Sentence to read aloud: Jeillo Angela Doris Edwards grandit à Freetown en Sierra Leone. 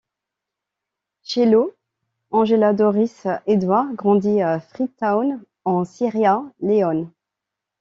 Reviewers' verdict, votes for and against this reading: rejected, 0, 2